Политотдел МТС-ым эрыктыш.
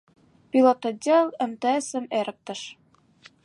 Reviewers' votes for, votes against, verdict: 1, 2, rejected